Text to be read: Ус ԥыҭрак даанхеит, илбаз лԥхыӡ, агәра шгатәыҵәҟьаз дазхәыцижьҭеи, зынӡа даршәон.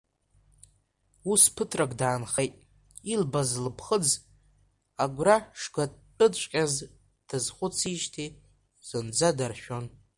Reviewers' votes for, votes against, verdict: 1, 2, rejected